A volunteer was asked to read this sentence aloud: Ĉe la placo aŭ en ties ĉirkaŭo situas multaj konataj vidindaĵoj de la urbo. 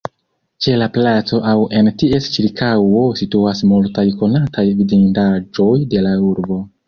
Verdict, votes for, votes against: accepted, 2, 1